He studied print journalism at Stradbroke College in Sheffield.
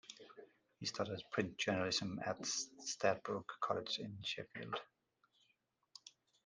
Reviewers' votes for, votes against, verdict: 2, 0, accepted